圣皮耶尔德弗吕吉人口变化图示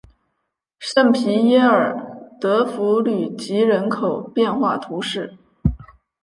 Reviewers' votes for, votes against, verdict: 3, 0, accepted